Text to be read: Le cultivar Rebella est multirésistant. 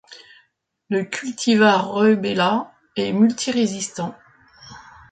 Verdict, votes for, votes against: accepted, 2, 0